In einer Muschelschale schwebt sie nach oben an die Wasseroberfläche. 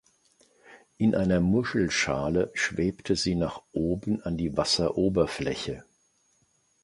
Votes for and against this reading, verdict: 1, 2, rejected